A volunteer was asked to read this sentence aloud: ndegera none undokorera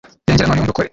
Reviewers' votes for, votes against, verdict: 0, 2, rejected